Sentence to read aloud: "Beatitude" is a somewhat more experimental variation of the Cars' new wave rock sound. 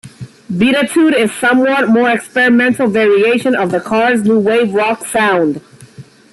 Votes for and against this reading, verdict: 2, 0, accepted